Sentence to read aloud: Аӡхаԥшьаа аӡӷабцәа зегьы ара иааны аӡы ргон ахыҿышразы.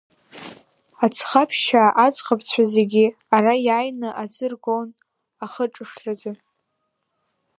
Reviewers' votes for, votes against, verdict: 1, 2, rejected